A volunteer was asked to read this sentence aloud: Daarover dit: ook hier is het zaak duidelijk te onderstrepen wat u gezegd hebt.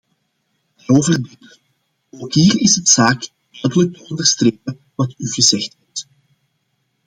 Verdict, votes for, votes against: rejected, 0, 2